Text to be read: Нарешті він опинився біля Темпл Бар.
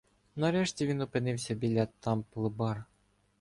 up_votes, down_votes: 0, 2